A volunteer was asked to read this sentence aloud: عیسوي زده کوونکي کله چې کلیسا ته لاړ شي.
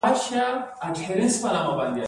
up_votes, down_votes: 0, 2